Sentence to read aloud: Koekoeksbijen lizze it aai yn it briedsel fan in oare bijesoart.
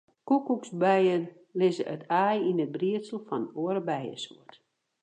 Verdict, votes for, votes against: rejected, 2, 4